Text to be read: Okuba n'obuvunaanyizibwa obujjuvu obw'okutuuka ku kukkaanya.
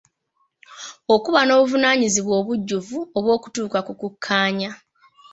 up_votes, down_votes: 1, 2